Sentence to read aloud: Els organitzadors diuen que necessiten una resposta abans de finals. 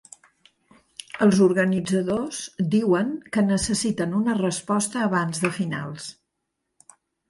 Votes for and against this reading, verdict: 3, 0, accepted